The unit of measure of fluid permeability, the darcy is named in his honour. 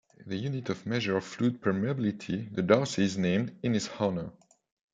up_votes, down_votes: 2, 0